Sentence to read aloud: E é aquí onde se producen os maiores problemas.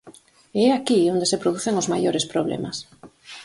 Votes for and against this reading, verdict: 4, 0, accepted